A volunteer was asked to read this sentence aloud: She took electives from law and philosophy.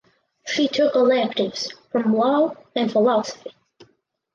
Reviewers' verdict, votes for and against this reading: accepted, 4, 0